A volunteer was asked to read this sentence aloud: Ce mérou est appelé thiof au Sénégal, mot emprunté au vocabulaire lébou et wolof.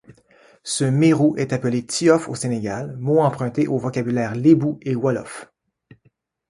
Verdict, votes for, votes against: accepted, 2, 0